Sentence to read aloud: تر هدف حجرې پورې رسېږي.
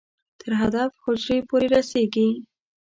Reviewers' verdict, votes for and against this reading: rejected, 1, 2